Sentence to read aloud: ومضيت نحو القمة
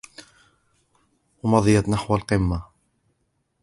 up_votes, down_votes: 2, 1